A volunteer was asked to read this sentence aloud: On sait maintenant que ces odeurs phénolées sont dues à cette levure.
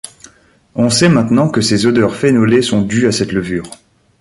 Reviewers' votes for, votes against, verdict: 2, 0, accepted